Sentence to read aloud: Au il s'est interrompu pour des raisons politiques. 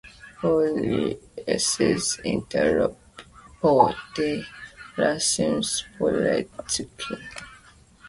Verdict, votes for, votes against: rejected, 0, 2